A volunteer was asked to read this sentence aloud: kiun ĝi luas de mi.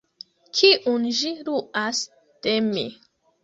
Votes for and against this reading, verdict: 1, 2, rejected